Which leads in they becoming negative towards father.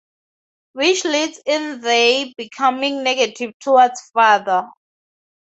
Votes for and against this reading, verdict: 0, 2, rejected